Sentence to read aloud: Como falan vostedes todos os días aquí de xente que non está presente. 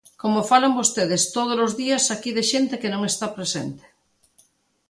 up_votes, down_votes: 2, 0